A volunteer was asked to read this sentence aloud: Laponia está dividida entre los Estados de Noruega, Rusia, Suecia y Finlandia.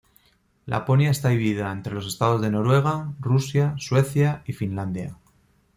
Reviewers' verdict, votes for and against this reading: accepted, 2, 0